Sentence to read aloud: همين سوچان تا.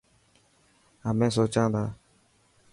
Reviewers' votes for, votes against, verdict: 2, 0, accepted